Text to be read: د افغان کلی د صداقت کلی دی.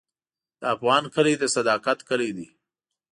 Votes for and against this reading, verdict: 2, 0, accepted